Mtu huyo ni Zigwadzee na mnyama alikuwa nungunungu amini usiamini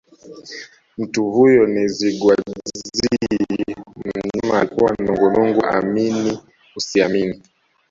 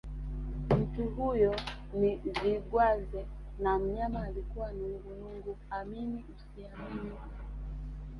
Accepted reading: second